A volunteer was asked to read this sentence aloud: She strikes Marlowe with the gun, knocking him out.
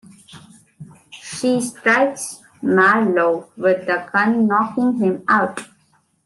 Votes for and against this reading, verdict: 1, 2, rejected